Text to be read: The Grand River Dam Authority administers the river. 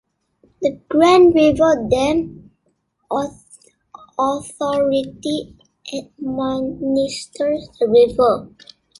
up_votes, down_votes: 1, 2